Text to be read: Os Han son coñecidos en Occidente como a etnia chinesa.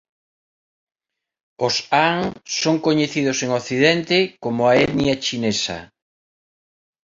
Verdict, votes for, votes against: accepted, 2, 0